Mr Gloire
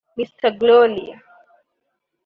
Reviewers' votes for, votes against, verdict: 0, 2, rejected